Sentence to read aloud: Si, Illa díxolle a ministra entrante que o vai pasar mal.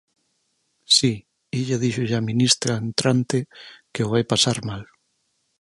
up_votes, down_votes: 4, 0